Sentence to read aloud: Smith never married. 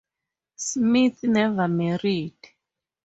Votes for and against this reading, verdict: 2, 0, accepted